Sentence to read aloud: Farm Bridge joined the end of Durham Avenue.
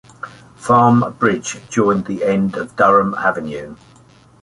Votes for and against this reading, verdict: 2, 0, accepted